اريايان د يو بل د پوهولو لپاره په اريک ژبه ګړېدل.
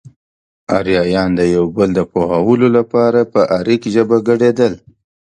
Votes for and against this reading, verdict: 2, 0, accepted